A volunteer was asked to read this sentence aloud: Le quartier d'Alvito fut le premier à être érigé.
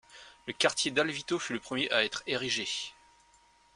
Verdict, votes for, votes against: accepted, 2, 0